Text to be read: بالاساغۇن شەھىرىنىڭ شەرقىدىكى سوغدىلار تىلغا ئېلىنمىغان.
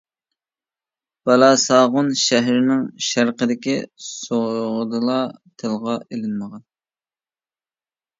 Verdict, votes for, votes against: rejected, 1, 2